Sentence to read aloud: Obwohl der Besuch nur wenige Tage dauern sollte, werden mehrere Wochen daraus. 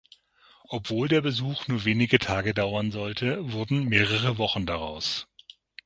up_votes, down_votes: 6, 9